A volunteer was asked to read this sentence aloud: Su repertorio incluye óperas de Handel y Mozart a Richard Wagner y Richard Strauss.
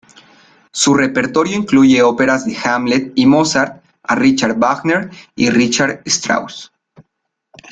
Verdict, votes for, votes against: rejected, 0, 2